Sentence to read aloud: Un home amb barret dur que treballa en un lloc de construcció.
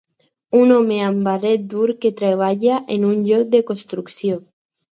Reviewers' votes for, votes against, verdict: 4, 0, accepted